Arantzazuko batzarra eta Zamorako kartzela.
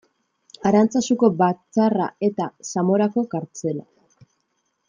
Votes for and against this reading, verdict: 2, 0, accepted